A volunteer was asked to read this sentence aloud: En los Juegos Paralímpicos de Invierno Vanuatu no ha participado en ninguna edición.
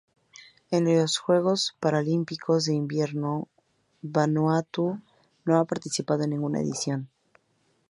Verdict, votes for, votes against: rejected, 0, 2